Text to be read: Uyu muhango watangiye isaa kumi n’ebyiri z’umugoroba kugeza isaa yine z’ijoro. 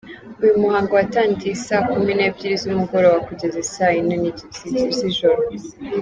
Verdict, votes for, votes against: rejected, 0, 2